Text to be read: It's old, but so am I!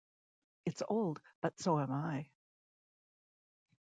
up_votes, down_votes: 2, 0